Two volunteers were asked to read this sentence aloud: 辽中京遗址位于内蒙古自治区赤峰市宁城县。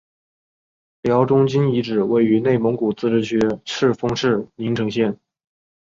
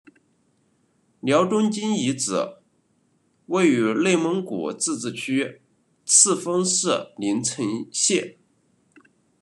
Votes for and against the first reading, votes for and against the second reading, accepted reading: 5, 1, 0, 2, first